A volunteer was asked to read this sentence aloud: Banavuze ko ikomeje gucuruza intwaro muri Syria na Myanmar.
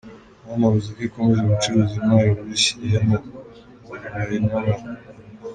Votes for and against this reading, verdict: 0, 2, rejected